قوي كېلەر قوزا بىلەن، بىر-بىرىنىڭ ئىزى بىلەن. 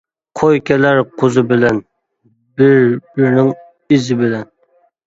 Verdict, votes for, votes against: rejected, 0, 2